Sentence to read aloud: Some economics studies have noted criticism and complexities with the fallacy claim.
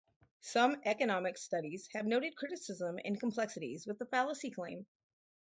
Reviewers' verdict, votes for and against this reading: accepted, 4, 0